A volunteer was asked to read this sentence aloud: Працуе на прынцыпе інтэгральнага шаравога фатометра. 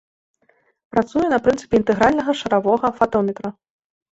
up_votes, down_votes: 2, 0